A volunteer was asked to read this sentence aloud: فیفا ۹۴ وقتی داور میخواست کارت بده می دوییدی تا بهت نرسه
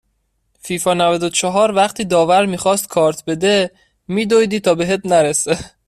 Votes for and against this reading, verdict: 0, 2, rejected